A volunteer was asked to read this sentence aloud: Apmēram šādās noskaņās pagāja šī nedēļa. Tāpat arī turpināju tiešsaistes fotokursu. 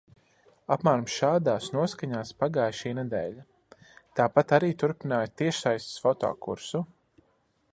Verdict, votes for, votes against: accepted, 2, 0